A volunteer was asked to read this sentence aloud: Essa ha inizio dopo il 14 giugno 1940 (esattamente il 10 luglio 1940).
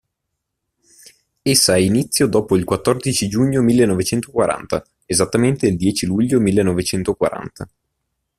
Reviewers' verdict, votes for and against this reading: rejected, 0, 2